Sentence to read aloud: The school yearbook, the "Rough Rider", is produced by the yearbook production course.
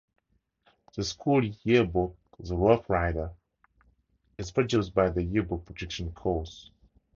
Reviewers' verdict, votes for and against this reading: accepted, 4, 0